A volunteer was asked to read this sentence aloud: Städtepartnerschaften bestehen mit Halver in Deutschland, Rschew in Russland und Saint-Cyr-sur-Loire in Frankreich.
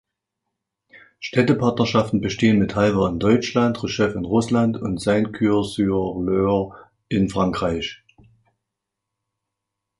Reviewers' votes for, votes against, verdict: 1, 2, rejected